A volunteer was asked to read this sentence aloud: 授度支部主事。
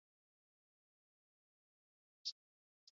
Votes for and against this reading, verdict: 1, 4, rejected